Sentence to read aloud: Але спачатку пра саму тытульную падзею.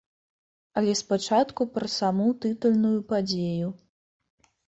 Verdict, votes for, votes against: accepted, 2, 0